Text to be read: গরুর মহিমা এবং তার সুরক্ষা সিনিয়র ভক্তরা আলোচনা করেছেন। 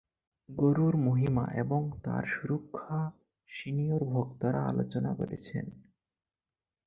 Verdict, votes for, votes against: rejected, 4, 4